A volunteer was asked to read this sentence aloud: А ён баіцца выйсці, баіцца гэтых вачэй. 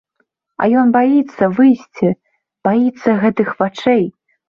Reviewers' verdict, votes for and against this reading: accepted, 2, 0